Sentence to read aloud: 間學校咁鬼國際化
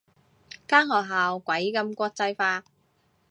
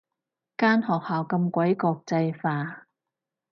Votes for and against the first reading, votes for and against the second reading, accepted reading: 1, 2, 4, 0, second